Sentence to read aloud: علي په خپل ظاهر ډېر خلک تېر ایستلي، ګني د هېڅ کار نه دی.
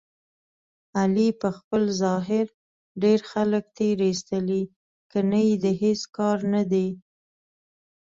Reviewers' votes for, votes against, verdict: 2, 0, accepted